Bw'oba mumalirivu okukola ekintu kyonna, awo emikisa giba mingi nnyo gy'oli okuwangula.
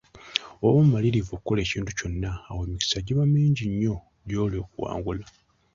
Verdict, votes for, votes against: accepted, 2, 0